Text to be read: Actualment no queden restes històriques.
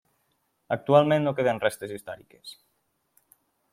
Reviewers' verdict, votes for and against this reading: accepted, 2, 1